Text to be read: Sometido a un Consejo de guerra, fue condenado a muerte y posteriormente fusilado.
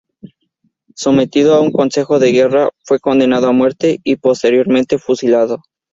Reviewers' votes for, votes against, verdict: 2, 0, accepted